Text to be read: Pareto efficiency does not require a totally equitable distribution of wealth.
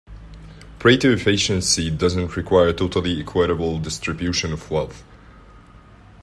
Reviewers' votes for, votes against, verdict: 0, 2, rejected